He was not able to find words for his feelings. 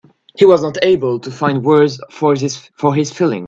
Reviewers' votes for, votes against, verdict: 1, 2, rejected